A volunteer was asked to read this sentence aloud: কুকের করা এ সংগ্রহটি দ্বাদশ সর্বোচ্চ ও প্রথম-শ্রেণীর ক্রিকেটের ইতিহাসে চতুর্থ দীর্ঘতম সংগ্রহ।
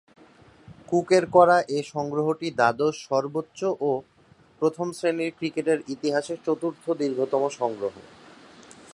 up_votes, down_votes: 3, 0